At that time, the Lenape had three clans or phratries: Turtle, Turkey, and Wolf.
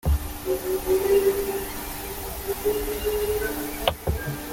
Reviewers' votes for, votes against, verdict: 0, 2, rejected